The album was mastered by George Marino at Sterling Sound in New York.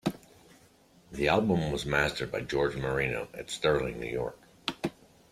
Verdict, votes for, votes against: accepted, 2, 1